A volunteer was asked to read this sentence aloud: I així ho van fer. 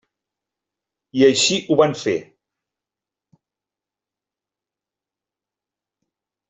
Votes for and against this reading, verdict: 3, 0, accepted